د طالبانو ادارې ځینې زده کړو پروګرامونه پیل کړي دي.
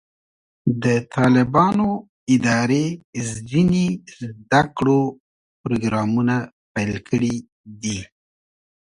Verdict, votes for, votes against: accepted, 2, 0